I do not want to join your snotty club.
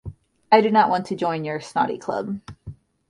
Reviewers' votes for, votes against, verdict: 2, 0, accepted